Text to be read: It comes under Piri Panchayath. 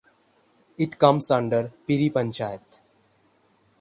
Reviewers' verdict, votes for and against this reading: rejected, 3, 3